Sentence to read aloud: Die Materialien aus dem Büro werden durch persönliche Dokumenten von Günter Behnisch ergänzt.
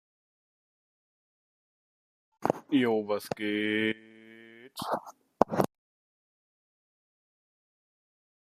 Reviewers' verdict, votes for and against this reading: rejected, 0, 2